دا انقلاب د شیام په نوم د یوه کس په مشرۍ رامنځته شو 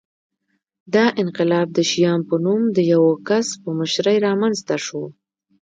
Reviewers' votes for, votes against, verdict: 1, 2, rejected